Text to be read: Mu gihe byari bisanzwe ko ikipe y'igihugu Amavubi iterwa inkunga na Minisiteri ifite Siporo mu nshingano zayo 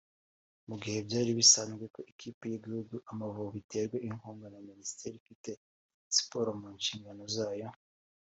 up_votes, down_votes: 3, 0